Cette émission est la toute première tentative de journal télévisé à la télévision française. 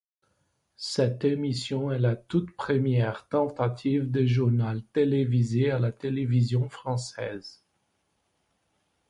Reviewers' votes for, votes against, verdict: 2, 0, accepted